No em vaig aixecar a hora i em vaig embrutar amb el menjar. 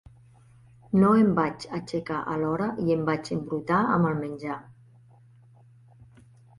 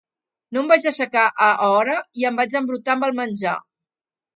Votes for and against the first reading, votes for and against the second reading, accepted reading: 2, 0, 0, 2, first